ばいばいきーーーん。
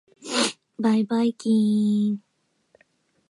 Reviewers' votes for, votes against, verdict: 2, 0, accepted